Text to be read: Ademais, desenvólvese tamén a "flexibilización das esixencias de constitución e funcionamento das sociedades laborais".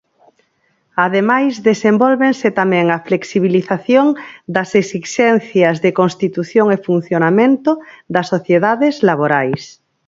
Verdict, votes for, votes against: rejected, 0, 4